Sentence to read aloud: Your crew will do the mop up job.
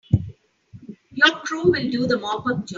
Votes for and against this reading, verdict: 0, 2, rejected